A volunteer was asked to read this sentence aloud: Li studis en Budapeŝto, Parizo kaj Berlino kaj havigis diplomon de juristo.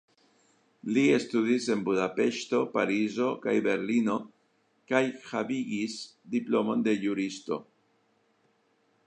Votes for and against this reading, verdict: 1, 2, rejected